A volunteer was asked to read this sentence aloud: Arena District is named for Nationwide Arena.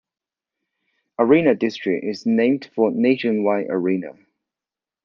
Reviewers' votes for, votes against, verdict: 2, 0, accepted